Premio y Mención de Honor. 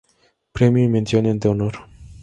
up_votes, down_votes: 2, 0